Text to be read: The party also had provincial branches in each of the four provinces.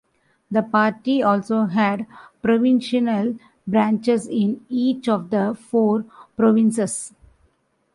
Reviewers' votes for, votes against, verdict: 2, 1, accepted